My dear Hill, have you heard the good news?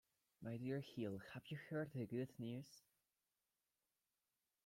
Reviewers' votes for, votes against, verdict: 2, 0, accepted